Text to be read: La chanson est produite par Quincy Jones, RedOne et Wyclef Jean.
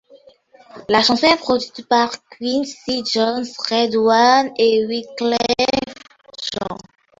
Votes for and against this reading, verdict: 0, 2, rejected